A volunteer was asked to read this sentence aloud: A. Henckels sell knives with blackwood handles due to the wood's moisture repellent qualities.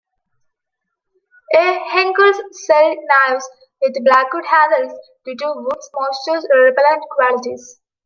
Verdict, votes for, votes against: accepted, 2, 1